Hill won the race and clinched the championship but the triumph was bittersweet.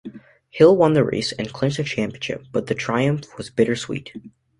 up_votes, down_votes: 2, 0